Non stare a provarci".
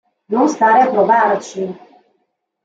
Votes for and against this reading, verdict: 2, 1, accepted